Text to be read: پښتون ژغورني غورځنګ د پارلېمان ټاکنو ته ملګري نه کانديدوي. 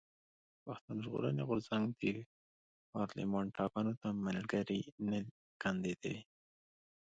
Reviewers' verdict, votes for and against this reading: accepted, 2, 0